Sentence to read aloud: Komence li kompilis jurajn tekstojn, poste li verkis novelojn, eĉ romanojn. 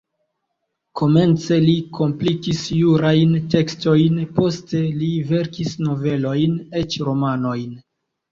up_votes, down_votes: 1, 2